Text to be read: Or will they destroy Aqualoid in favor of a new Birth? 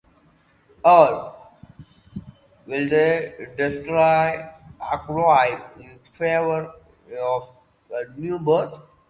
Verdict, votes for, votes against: rejected, 0, 2